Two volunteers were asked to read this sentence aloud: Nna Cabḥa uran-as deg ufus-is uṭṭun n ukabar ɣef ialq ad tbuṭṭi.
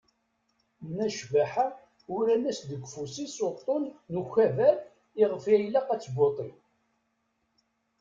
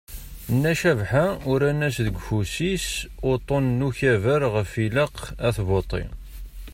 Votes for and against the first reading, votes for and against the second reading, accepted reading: 1, 2, 2, 0, second